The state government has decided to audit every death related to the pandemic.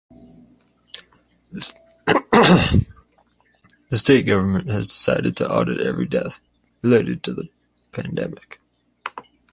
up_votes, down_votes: 2, 2